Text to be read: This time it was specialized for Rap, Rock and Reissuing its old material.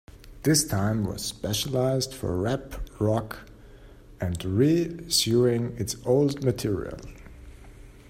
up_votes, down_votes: 0, 2